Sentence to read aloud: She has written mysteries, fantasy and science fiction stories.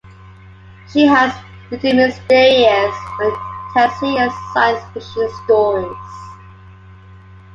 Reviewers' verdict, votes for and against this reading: rejected, 0, 2